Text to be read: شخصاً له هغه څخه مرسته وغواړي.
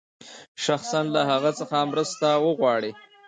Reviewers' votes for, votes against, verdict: 2, 0, accepted